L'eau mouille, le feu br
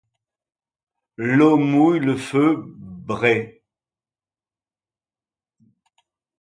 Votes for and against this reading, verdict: 1, 2, rejected